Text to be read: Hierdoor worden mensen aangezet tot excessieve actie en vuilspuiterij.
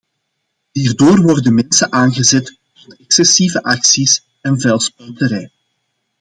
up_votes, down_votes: 2, 0